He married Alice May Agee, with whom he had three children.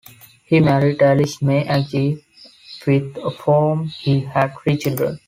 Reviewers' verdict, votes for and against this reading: rejected, 1, 2